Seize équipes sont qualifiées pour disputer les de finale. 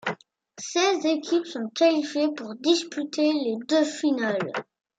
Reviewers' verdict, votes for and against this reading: accepted, 2, 0